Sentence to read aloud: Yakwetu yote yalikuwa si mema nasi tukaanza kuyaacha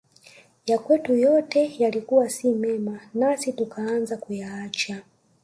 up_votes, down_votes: 0, 2